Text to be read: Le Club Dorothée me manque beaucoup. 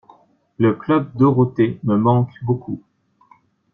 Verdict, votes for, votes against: accepted, 2, 0